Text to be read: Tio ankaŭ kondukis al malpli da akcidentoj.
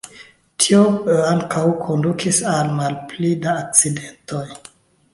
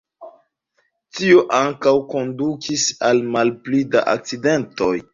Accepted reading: first